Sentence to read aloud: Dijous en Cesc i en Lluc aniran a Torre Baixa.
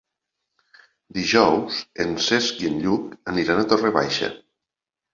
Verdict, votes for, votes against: accepted, 2, 0